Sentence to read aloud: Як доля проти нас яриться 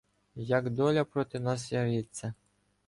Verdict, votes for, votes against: rejected, 1, 2